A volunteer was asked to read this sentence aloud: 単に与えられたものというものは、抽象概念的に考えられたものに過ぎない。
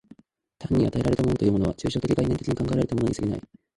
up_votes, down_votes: 0, 2